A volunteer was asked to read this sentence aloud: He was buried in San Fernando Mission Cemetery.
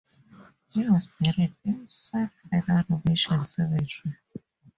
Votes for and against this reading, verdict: 2, 0, accepted